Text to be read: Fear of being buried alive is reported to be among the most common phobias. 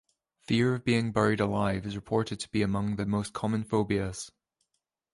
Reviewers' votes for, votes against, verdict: 3, 0, accepted